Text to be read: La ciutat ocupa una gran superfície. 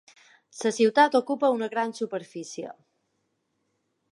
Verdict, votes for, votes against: rejected, 0, 2